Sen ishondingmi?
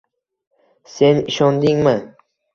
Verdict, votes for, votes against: accepted, 2, 0